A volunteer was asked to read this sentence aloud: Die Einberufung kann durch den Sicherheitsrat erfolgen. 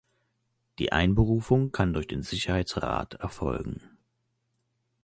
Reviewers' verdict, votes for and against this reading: accepted, 2, 0